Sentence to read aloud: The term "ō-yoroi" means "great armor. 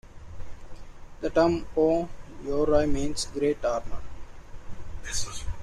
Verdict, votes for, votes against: accepted, 2, 0